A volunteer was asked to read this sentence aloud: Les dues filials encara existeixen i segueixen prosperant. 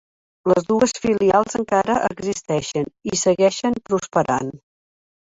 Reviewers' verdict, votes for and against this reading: accepted, 3, 1